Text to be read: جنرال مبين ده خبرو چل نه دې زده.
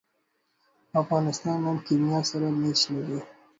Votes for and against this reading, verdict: 0, 2, rejected